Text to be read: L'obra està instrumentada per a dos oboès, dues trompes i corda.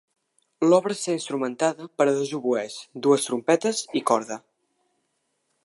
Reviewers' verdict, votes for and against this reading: rejected, 0, 2